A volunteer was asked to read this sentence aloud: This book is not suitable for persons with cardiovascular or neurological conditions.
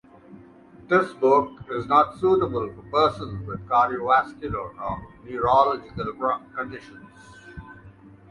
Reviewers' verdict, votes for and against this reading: rejected, 0, 2